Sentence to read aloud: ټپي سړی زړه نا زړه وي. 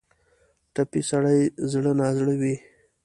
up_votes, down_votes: 2, 0